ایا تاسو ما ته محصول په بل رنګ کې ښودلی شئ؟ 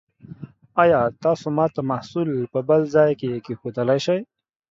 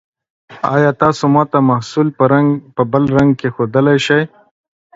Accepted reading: second